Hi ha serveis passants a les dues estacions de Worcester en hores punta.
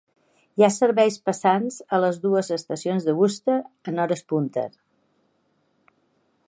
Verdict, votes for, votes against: rejected, 0, 2